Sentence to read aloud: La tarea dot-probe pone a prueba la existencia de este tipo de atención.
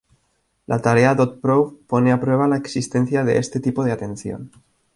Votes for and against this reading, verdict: 2, 0, accepted